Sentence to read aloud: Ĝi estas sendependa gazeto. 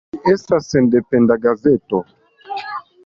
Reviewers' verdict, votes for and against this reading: accepted, 2, 0